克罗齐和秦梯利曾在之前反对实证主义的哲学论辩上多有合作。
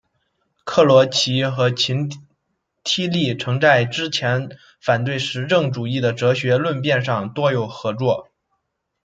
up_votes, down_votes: 1, 3